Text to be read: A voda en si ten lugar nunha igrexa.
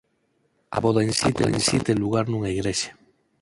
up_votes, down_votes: 2, 4